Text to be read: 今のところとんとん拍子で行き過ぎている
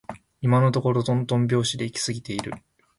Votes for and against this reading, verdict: 4, 0, accepted